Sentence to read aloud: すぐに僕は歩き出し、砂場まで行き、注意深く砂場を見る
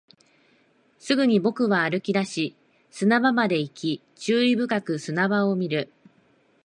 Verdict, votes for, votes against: accepted, 2, 0